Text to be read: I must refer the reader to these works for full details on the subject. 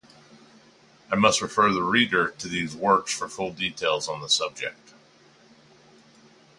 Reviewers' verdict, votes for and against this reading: accepted, 2, 0